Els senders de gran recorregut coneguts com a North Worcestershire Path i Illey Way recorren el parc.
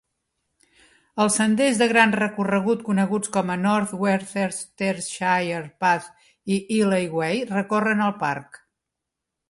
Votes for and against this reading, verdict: 2, 0, accepted